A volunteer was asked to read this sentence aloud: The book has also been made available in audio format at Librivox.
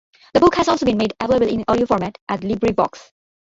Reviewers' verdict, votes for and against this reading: rejected, 0, 2